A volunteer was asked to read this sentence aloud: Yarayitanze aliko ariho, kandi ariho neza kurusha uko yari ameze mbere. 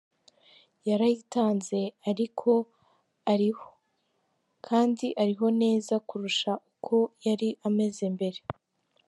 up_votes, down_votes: 0, 2